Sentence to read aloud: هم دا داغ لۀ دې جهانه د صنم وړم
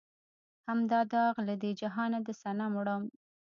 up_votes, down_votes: 1, 2